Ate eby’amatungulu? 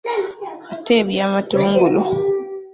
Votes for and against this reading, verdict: 0, 2, rejected